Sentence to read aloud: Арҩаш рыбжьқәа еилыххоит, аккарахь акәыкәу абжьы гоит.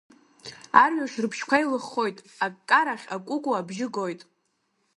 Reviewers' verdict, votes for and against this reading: accepted, 2, 0